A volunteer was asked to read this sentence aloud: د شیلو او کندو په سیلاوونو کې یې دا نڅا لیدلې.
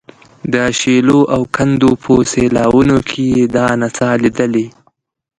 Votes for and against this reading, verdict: 2, 1, accepted